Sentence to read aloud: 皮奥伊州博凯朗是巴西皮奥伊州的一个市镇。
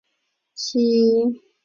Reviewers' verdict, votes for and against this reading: rejected, 0, 2